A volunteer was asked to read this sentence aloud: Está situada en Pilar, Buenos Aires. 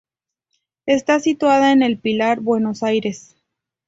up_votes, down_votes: 0, 2